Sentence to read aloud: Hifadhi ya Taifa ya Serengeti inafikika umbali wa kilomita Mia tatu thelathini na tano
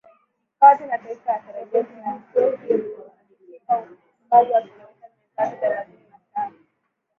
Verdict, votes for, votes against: rejected, 3, 7